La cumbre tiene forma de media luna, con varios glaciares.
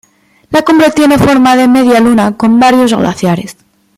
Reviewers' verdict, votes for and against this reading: accepted, 2, 0